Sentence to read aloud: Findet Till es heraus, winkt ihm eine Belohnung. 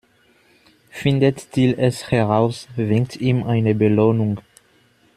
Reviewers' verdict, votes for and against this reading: rejected, 1, 2